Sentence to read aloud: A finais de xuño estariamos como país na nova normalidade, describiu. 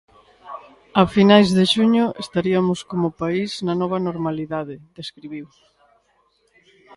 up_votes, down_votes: 1, 2